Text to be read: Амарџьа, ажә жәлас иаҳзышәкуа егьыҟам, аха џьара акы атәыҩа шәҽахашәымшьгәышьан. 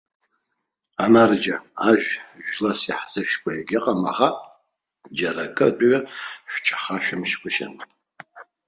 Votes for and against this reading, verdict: 3, 0, accepted